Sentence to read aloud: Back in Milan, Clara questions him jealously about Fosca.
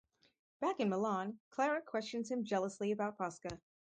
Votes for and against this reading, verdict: 2, 0, accepted